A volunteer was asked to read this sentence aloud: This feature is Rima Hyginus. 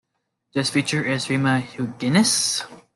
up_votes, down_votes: 2, 0